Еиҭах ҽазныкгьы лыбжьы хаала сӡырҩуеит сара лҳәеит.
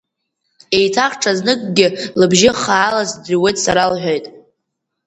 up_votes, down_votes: 1, 2